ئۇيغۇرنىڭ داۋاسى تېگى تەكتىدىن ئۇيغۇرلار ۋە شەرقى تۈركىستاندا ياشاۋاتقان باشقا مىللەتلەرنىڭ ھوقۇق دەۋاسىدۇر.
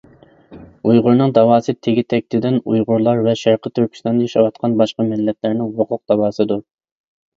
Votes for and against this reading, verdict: 2, 1, accepted